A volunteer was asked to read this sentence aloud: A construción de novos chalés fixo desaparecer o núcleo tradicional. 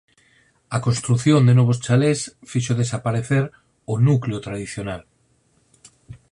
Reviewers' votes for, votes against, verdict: 4, 0, accepted